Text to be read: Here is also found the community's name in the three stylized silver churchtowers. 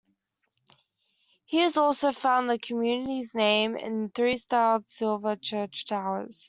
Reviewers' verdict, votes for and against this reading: rejected, 0, 2